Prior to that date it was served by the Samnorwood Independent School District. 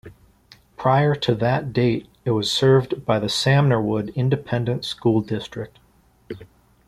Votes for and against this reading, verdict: 2, 0, accepted